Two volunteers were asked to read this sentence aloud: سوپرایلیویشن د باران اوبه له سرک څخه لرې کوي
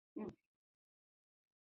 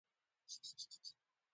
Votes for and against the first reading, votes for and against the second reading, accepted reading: 2, 1, 0, 2, first